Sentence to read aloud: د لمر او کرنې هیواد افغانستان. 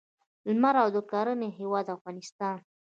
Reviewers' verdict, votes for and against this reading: rejected, 1, 2